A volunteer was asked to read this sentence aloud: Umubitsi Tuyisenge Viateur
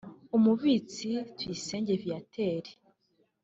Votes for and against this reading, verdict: 2, 0, accepted